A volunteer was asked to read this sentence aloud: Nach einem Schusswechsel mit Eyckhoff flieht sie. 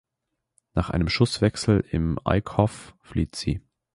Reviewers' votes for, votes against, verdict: 1, 2, rejected